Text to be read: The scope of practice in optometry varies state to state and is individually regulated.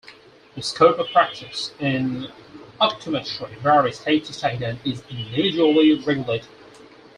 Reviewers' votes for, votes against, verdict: 4, 2, accepted